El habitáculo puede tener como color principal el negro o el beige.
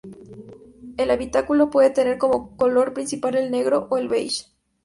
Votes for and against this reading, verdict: 2, 0, accepted